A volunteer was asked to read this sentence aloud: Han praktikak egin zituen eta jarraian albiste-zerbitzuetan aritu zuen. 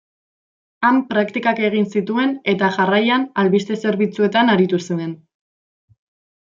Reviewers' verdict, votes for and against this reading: accepted, 2, 0